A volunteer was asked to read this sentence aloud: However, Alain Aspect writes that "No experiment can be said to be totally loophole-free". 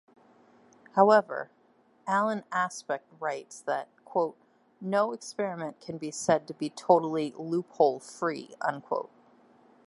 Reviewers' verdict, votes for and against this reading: rejected, 0, 2